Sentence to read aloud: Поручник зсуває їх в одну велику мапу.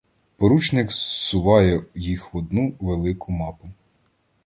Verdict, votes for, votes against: rejected, 1, 2